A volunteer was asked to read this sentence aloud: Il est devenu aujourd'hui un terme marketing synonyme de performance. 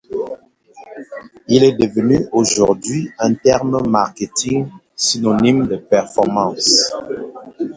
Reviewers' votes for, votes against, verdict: 0, 2, rejected